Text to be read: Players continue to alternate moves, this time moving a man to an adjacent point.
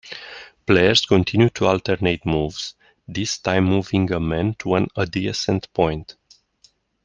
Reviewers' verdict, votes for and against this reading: rejected, 0, 2